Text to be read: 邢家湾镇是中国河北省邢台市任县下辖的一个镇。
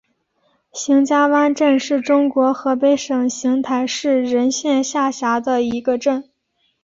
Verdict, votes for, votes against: accepted, 5, 0